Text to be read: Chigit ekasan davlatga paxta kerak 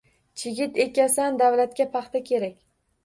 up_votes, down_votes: 2, 0